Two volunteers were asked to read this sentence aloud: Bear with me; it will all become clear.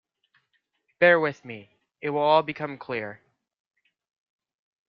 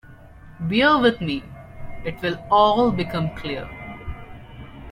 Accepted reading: first